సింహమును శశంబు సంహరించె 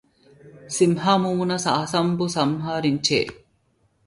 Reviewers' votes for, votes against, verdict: 0, 2, rejected